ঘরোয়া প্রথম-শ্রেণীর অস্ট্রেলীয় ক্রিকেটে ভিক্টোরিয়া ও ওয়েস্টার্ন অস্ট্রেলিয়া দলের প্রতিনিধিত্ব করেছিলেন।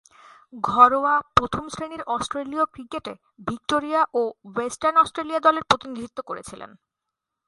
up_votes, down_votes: 4, 0